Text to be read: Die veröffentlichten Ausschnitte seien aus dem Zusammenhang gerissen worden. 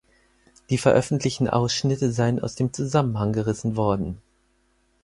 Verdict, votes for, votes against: accepted, 4, 0